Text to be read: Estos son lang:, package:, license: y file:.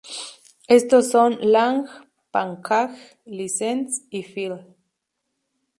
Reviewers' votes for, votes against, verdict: 0, 2, rejected